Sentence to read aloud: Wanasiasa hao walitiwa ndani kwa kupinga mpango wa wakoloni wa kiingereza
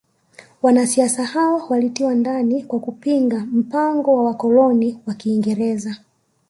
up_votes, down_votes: 2, 0